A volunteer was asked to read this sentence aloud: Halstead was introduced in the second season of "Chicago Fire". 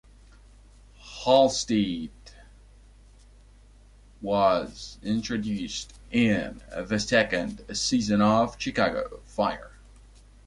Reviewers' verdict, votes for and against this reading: rejected, 0, 2